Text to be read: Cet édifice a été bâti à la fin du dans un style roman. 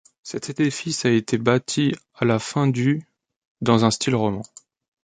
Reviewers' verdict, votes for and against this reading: rejected, 1, 2